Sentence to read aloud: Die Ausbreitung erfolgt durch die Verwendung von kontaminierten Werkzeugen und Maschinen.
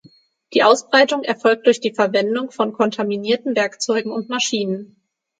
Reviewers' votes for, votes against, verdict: 6, 0, accepted